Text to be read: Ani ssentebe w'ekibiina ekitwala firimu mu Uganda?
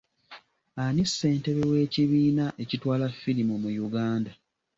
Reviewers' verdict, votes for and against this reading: accepted, 2, 0